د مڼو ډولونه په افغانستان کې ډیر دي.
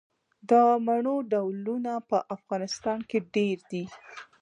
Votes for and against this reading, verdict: 2, 1, accepted